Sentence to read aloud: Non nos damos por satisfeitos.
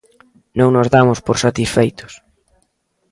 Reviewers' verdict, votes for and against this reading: accepted, 2, 0